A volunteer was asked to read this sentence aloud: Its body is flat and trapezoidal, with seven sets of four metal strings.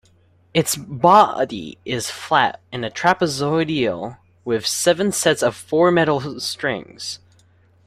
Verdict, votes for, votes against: rejected, 0, 2